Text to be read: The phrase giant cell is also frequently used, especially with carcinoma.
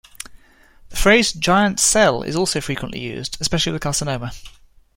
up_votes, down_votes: 2, 0